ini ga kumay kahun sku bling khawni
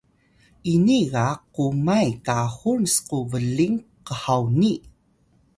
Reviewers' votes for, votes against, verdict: 2, 0, accepted